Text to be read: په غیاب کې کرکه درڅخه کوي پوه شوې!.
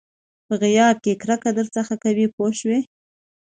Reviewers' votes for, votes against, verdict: 2, 0, accepted